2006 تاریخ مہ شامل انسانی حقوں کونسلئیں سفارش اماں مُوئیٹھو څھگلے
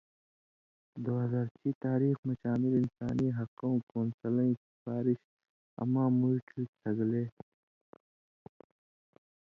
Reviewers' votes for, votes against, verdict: 0, 2, rejected